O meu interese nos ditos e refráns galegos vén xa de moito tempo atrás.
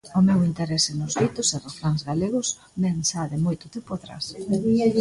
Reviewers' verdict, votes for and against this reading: accepted, 2, 0